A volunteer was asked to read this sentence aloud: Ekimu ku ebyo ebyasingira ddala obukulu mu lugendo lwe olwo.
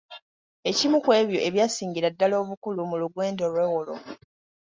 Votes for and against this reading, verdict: 2, 0, accepted